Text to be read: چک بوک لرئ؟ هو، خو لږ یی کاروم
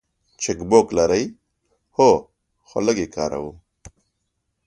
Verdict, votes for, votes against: accepted, 2, 0